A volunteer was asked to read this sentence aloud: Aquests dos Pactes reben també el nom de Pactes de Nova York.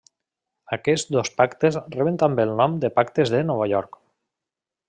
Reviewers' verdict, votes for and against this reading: accepted, 3, 0